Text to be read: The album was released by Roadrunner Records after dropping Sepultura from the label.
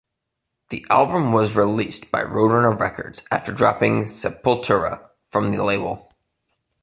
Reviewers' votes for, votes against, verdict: 2, 0, accepted